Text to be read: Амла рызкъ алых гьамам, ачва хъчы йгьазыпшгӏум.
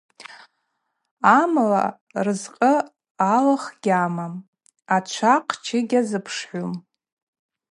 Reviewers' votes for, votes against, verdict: 2, 0, accepted